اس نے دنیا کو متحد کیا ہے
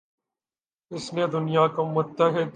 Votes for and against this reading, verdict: 0, 2, rejected